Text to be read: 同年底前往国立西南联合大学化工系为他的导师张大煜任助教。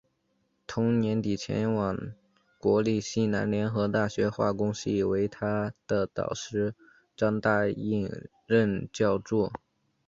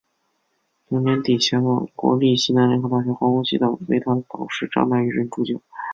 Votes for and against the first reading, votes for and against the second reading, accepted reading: 5, 0, 0, 2, first